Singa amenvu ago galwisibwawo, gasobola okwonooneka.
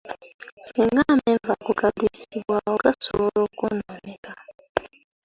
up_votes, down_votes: 2, 1